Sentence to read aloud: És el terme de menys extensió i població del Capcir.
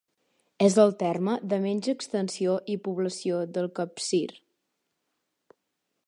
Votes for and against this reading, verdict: 4, 0, accepted